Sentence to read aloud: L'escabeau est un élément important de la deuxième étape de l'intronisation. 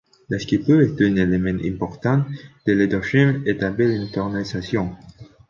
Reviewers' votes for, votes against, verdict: 0, 2, rejected